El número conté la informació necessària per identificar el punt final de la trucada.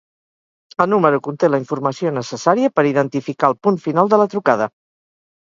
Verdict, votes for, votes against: accepted, 6, 0